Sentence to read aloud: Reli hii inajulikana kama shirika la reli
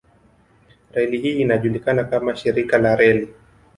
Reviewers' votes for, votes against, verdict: 0, 2, rejected